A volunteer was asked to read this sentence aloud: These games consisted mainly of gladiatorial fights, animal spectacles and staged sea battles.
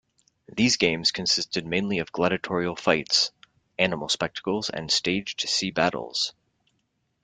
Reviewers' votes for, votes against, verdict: 2, 0, accepted